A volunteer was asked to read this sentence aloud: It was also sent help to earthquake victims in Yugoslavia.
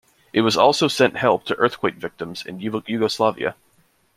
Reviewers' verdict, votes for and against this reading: rejected, 1, 2